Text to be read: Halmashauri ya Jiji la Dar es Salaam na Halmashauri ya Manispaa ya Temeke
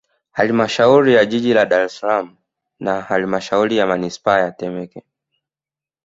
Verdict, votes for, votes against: accepted, 2, 0